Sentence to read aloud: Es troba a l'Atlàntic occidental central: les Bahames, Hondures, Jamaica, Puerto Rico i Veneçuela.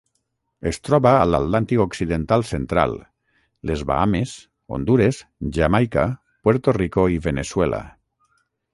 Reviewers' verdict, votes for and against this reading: rejected, 0, 3